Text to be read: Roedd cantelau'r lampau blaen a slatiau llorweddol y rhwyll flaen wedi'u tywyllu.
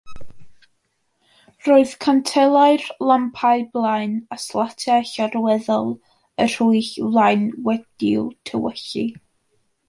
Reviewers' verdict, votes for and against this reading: rejected, 1, 2